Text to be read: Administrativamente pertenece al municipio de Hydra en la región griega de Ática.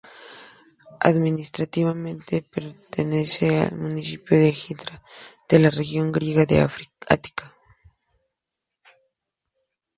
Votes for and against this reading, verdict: 0, 2, rejected